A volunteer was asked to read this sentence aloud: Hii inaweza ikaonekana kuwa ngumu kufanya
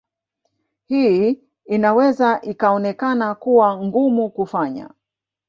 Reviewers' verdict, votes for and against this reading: rejected, 1, 2